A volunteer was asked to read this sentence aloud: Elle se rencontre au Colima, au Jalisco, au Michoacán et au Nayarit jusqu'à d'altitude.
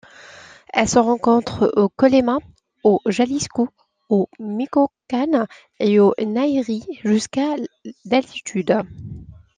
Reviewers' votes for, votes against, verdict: 2, 1, accepted